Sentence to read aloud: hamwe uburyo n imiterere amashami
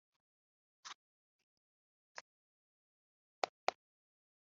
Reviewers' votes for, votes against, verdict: 0, 3, rejected